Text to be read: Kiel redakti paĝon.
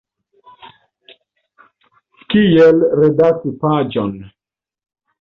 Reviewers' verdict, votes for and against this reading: rejected, 1, 2